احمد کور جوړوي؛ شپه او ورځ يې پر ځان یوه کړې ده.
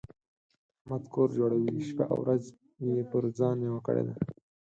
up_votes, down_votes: 2, 4